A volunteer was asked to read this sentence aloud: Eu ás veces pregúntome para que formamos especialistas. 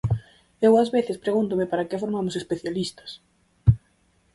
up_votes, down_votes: 4, 0